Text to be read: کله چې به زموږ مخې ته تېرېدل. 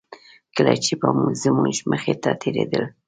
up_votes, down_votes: 2, 0